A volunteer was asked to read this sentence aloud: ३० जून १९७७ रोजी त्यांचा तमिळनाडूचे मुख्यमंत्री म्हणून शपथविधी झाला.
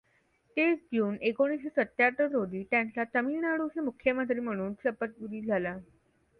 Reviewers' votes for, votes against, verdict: 0, 2, rejected